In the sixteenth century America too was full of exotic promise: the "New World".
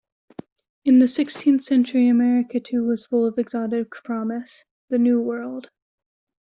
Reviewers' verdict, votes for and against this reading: accepted, 2, 1